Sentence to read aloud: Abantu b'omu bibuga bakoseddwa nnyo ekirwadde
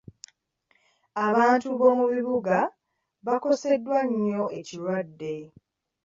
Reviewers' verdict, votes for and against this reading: rejected, 1, 2